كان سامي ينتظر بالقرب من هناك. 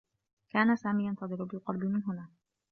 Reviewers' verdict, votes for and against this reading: accepted, 2, 0